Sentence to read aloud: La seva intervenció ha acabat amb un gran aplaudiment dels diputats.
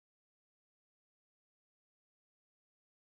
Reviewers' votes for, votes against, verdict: 0, 2, rejected